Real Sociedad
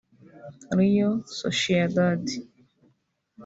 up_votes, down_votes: 0, 2